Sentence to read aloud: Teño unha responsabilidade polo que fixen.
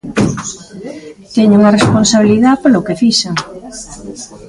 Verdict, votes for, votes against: rejected, 0, 2